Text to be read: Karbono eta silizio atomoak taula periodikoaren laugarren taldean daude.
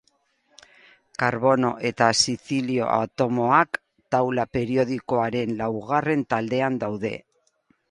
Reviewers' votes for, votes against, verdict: 2, 2, rejected